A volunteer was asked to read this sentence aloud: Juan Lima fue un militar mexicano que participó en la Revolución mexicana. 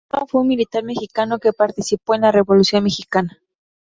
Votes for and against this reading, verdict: 2, 2, rejected